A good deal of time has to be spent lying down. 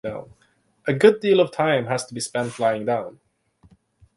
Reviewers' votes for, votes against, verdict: 6, 3, accepted